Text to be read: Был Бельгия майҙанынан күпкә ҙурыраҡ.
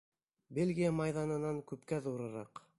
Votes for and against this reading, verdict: 1, 2, rejected